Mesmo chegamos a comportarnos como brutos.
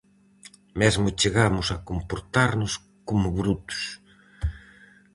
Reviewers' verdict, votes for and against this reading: accepted, 4, 0